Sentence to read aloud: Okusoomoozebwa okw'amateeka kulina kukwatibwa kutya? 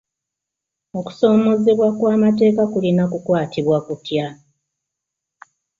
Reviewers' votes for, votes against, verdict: 2, 0, accepted